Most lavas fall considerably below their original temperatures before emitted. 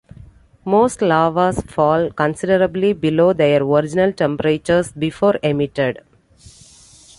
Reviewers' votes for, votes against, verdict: 2, 0, accepted